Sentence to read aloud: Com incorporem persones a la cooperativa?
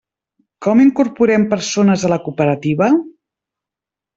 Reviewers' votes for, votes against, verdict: 3, 0, accepted